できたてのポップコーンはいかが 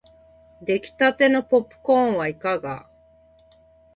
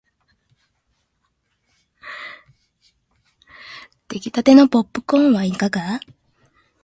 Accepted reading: first